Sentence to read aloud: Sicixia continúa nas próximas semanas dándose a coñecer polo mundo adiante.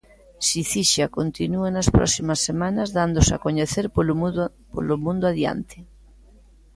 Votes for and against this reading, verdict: 0, 2, rejected